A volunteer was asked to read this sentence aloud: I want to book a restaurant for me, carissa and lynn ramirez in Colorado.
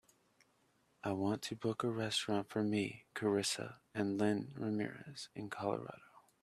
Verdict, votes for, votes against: accepted, 2, 0